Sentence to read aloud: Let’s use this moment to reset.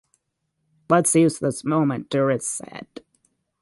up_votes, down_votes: 0, 6